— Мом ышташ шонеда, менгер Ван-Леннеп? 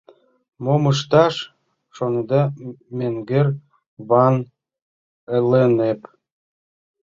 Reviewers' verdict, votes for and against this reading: rejected, 0, 2